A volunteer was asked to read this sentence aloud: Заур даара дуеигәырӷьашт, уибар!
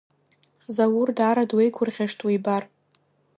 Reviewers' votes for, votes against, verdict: 2, 1, accepted